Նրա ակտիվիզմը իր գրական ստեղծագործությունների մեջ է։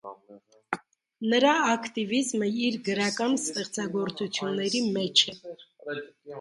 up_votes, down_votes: 0, 2